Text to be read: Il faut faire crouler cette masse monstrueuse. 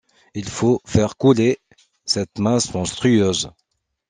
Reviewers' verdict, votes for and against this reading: rejected, 1, 2